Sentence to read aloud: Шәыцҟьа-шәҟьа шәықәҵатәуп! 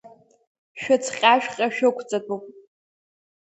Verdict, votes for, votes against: accepted, 2, 0